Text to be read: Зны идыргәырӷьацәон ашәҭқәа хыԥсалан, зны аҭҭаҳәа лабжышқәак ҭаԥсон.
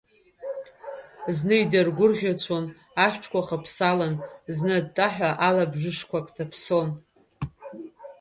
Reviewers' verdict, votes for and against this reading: accepted, 2, 0